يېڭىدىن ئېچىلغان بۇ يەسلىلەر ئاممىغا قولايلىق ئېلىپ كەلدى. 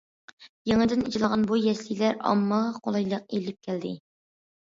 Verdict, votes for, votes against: accepted, 2, 1